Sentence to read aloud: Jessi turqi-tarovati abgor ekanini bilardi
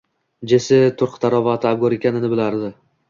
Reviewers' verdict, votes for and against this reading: accepted, 2, 0